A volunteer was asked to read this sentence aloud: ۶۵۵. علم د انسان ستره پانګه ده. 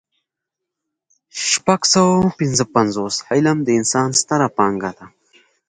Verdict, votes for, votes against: rejected, 0, 2